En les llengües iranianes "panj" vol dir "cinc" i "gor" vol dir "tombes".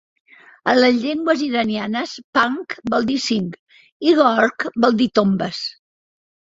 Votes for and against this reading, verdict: 0, 2, rejected